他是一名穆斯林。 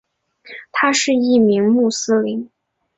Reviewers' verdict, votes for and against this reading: accepted, 2, 0